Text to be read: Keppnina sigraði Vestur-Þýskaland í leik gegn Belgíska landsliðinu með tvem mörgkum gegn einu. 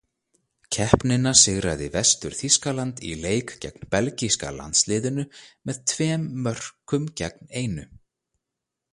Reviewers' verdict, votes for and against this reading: rejected, 0, 2